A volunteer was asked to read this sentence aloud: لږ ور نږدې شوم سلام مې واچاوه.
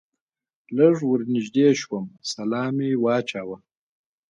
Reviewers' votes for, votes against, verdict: 2, 0, accepted